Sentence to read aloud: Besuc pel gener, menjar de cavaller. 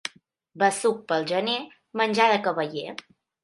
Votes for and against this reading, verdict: 2, 0, accepted